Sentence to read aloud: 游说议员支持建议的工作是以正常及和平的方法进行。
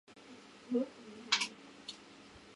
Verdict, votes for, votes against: rejected, 0, 2